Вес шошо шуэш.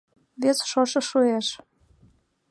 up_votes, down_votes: 2, 0